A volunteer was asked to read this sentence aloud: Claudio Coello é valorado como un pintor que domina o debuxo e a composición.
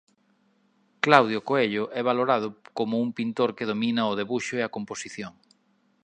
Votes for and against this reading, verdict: 2, 0, accepted